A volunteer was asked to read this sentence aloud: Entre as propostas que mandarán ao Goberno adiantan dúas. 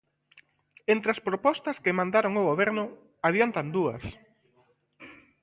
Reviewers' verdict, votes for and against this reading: rejected, 0, 2